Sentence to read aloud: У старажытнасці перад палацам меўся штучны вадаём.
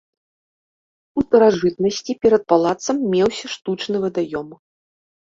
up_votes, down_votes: 0, 2